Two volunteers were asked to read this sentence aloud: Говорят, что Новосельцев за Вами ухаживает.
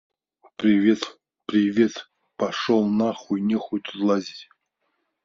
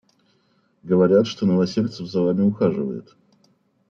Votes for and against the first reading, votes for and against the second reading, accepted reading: 0, 2, 2, 0, second